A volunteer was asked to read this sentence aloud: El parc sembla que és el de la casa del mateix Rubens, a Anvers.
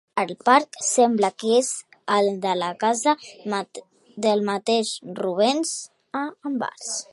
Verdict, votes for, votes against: rejected, 0, 2